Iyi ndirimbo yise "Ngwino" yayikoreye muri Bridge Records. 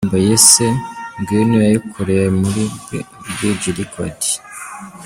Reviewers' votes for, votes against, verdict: 0, 2, rejected